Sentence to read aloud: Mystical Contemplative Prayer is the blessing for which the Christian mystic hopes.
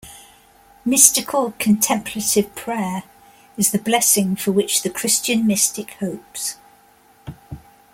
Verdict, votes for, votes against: accepted, 2, 0